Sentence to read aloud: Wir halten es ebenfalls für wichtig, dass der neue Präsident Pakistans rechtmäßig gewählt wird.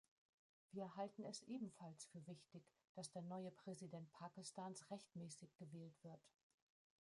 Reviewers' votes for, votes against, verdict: 0, 2, rejected